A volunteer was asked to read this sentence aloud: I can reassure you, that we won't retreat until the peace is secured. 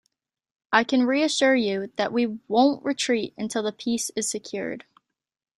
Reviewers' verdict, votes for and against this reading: accepted, 2, 0